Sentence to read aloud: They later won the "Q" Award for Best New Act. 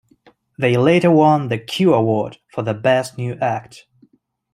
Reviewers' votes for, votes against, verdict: 1, 2, rejected